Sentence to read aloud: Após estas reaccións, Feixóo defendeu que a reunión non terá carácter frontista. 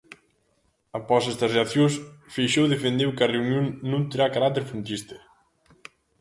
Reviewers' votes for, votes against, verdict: 2, 0, accepted